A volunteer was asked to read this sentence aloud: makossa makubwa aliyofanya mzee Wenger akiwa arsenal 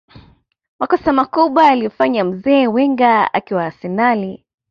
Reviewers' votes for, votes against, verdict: 2, 0, accepted